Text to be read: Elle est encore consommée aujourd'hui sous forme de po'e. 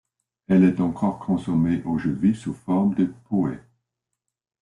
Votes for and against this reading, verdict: 2, 0, accepted